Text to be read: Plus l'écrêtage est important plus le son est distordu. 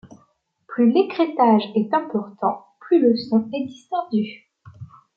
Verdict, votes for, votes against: accepted, 2, 0